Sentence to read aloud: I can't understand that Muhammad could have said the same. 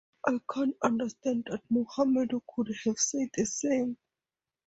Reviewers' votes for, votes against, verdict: 0, 4, rejected